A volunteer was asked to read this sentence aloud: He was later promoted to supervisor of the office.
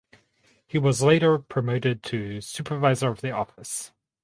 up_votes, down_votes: 4, 0